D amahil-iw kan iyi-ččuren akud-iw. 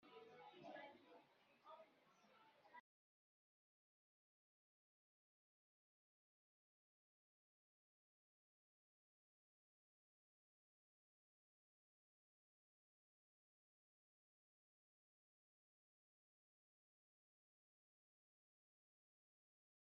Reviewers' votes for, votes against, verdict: 0, 2, rejected